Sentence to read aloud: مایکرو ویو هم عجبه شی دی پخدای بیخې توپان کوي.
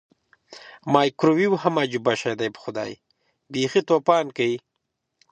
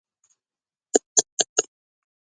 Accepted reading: first